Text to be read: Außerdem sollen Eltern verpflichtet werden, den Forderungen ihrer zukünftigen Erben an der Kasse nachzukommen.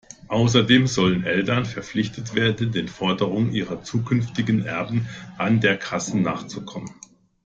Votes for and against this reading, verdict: 2, 1, accepted